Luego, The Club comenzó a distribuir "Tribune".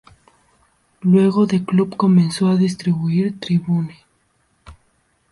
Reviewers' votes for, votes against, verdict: 2, 0, accepted